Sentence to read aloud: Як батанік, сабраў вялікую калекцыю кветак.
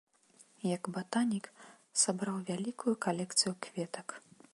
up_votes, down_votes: 2, 1